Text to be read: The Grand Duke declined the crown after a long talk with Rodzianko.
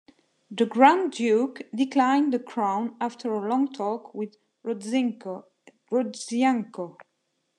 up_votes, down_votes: 0, 3